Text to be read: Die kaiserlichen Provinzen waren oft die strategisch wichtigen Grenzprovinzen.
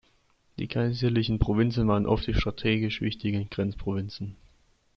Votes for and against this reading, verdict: 2, 0, accepted